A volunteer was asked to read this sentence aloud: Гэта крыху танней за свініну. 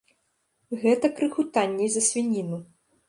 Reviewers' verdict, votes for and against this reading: rejected, 1, 2